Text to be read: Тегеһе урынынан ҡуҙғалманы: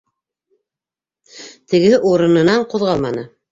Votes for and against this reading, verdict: 2, 0, accepted